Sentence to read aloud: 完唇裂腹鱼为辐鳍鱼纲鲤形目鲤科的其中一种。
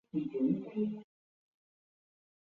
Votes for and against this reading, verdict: 0, 4, rejected